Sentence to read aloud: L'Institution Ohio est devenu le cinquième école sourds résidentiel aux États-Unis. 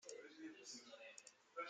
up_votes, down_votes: 0, 2